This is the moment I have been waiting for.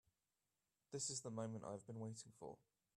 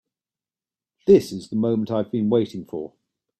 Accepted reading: second